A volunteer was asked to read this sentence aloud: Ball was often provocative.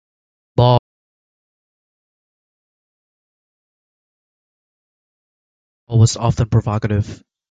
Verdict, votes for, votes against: rejected, 0, 2